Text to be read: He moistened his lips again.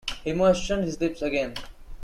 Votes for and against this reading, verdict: 1, 2, rejected